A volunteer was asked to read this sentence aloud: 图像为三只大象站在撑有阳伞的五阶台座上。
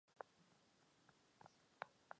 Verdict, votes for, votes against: rejected, 0, 2